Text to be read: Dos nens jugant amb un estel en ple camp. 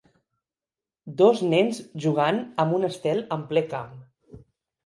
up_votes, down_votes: 2, 0